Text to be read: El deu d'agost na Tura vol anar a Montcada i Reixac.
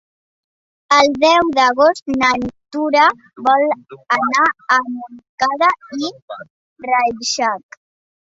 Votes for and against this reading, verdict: 1, 2, rejected